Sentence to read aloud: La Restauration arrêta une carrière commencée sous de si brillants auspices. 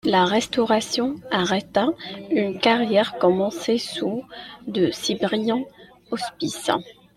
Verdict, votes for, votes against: accepted, 2, 0